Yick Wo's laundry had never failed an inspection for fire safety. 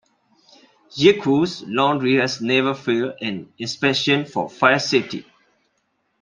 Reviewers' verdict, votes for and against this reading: rejected, 1, 2